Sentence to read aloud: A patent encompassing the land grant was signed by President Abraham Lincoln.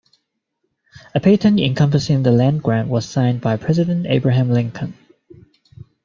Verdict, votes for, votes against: accepted, 2, 0